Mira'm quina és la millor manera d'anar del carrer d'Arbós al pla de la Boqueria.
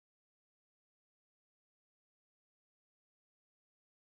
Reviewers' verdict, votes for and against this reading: rejected, 0, 2